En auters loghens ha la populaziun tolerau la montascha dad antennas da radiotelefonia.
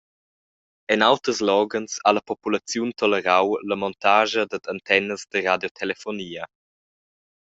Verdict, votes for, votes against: accepted, 2, 0